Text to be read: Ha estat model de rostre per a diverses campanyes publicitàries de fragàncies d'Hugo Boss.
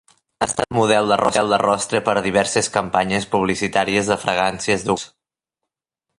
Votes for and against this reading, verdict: 0, 3, rejected